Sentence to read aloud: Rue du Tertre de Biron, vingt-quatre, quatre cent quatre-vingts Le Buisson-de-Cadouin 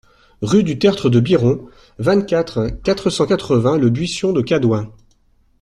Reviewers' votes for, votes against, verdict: 2, 0, accepted